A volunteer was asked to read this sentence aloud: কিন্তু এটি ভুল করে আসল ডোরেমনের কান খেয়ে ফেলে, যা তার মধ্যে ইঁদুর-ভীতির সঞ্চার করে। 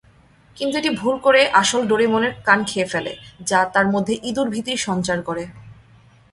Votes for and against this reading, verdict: 32, 0, accepted